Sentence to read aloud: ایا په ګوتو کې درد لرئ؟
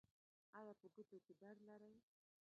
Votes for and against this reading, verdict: 0, 2, rejected